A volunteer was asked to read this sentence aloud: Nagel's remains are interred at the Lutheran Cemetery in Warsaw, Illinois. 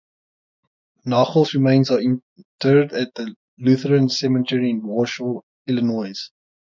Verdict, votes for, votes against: rejected, 0, 3